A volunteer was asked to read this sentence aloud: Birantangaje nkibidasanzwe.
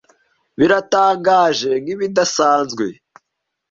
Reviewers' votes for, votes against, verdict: 0, 2, rejected